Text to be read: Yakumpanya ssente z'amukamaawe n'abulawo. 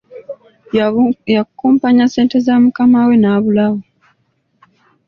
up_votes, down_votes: 1, 2